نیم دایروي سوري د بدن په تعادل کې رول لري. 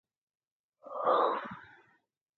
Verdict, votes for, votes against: rejected, 2, 4